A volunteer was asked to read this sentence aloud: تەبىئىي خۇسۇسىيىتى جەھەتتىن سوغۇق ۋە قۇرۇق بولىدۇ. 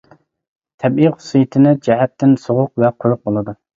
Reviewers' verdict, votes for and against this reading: rejected, 0, 2